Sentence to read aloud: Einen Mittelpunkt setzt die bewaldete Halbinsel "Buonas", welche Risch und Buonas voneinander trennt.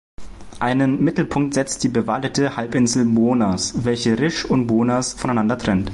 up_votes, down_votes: 0, 2